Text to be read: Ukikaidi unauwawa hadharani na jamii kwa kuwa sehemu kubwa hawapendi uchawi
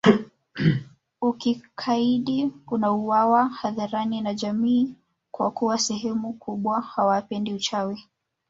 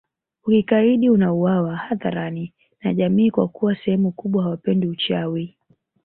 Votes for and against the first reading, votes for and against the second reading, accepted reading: 1, 2, 2, 0, second